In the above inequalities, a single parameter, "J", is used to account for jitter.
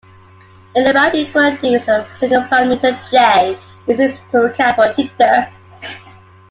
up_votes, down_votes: 2, 1